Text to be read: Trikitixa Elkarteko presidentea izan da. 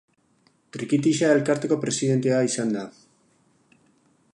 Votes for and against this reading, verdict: 6, 0, accepted